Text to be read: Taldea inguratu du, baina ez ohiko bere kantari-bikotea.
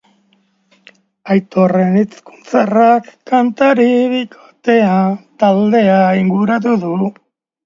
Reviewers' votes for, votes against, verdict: 1, 2, rejected